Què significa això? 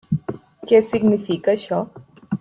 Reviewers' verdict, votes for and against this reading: rejected, 0, 2